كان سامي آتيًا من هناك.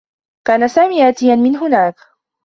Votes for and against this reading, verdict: 2, 0, accepted